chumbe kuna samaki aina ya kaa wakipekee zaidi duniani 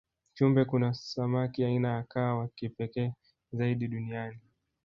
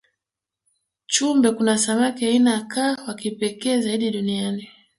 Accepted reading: second